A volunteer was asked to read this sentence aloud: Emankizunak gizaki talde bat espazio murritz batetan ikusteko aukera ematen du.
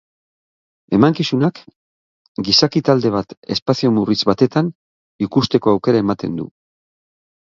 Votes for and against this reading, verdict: 3, 0, accepted